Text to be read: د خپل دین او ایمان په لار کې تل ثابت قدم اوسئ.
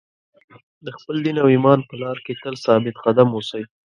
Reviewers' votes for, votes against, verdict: 2, 0, accepted